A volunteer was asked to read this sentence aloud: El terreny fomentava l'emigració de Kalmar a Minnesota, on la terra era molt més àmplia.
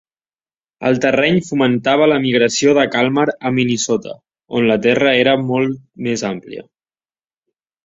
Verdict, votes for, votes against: rejected, 1, 2